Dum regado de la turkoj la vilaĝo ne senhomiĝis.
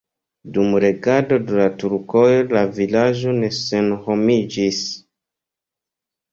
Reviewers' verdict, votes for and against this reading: rejected, 1, 2